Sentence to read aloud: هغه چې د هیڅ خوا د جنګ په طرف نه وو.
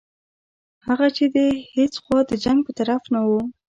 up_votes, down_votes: 2, 1